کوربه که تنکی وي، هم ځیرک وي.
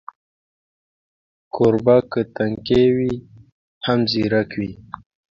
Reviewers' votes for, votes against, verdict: 2, 0, accepted